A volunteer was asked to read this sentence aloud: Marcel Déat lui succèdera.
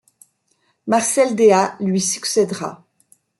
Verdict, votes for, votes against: accepted, 2, 0